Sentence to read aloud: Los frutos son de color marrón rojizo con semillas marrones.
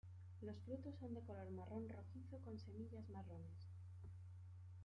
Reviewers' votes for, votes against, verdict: 0, 2, rejected